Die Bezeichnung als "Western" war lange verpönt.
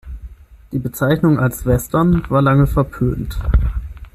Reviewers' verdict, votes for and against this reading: accepted, 6, 0